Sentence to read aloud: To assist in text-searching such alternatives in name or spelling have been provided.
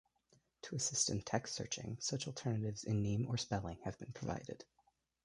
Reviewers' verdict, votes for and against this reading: rejected, 1, 2